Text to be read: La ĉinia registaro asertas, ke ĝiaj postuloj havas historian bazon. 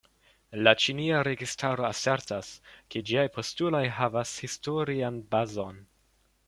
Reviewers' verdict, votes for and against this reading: accepted, 2, 0